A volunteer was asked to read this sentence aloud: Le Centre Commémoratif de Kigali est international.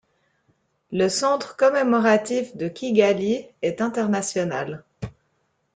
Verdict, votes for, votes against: accepted, 2, 0